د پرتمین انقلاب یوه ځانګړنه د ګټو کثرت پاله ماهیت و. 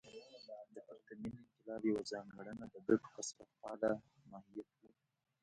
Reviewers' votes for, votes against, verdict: 2, 0, accepted